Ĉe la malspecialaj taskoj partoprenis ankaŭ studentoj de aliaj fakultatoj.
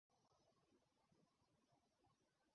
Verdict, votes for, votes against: rejected, 0, 2